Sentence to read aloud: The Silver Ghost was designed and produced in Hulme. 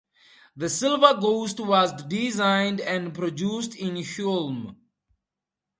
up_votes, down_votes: 2, 2